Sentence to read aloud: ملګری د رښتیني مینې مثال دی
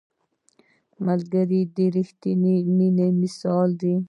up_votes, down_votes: 0, 2